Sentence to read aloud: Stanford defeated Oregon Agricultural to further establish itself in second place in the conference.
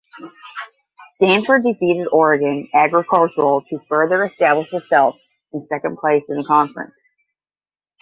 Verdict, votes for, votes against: rejected, 5, 10